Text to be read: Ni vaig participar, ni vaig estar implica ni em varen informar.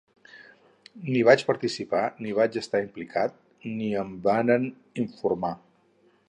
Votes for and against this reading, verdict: 2, 4, rejected